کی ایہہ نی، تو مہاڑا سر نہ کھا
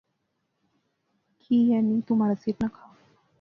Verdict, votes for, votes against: accepted, 2, 0